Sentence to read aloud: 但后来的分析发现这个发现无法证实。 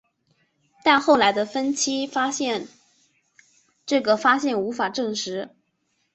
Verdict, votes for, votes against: accepted, 2, 0